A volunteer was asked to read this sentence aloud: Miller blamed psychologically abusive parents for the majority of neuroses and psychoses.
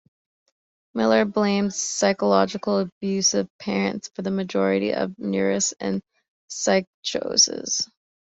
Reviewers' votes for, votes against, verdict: 0, 2, rejected